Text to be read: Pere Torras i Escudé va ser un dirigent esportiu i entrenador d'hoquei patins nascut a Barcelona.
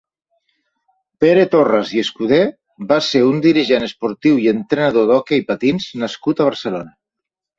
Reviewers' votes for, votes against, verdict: 4, 0, accepted